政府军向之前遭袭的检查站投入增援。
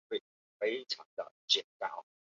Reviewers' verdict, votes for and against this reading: rejected, 0, 2